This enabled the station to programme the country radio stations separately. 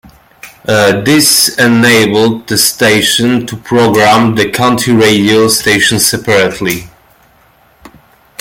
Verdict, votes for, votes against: rejected, 0, 2